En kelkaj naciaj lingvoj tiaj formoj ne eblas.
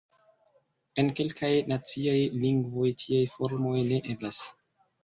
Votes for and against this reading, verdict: 2, 1, accepted